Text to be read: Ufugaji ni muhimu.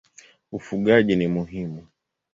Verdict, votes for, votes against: accepted, 2, 0